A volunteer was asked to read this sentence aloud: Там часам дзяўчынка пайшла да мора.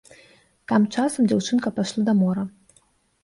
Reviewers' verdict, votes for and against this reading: rejected, 1, 2